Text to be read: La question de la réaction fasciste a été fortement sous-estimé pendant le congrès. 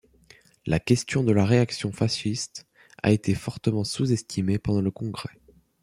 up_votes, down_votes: 0, 2